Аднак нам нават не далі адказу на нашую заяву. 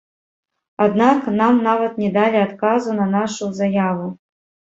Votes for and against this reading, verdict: 1, 2, rejected